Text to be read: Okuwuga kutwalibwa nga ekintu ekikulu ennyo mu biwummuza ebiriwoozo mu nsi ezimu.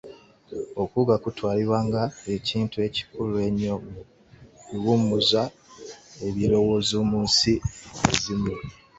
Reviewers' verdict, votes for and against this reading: rejected, 0, 2